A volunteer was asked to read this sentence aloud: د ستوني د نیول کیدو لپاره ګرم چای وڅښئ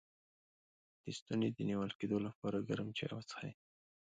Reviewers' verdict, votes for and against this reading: accepted, 2, 0